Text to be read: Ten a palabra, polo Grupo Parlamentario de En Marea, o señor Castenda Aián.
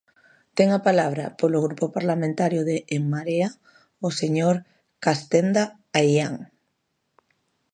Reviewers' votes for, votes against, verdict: 2, 0, accepted